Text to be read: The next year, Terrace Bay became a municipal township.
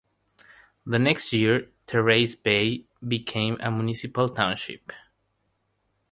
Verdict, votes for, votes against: rejected, 0, 3